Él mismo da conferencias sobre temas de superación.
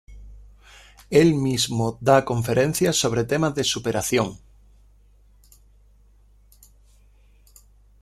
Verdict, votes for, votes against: accepted, 2, 1